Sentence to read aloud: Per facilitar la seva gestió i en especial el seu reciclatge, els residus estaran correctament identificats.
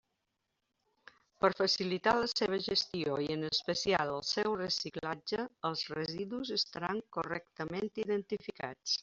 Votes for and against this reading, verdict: 3, 0, accepted